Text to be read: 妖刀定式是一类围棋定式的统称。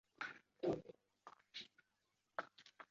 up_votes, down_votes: 3, 2